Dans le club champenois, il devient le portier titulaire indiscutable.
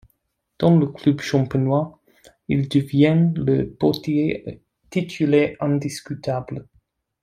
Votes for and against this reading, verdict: 1, 2, rejected